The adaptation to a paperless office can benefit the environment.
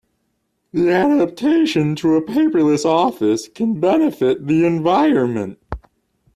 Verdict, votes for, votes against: rejected, 1, 2